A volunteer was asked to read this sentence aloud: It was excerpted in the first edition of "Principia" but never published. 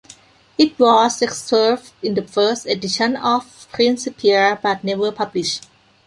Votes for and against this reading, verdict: 0, 2, rejected